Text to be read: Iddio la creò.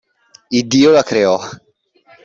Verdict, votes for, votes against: accepted, 2, 0